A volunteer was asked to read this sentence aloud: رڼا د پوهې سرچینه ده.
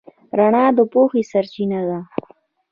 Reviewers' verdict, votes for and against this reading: rejected, 0, 2